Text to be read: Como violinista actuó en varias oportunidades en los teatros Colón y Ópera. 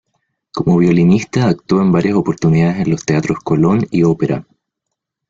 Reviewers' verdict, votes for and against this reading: rejected, 1, 2